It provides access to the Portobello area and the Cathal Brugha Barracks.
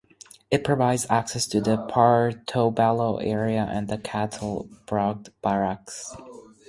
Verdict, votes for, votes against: rejected, 2, 2